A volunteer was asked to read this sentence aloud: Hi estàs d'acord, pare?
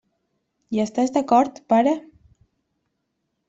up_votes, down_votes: 2, 0